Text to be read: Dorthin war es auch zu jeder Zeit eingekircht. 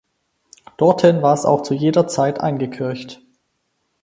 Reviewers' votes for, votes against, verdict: 4, 0, accepted